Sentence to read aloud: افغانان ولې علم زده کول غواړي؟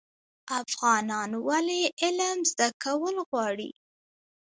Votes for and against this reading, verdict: 1, 2, rejected